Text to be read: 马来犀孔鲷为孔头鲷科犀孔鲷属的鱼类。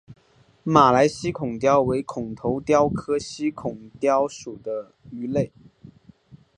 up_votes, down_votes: 8, 0